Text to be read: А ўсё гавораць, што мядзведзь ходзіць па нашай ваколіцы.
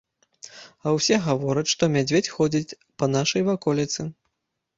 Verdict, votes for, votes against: rejected, 1, 2